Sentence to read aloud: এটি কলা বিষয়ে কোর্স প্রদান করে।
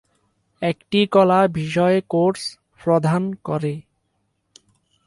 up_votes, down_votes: 0, 4